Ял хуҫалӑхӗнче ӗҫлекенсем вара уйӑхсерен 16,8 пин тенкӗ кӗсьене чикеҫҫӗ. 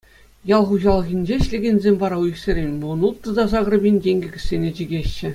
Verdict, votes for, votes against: rejected, 0, 2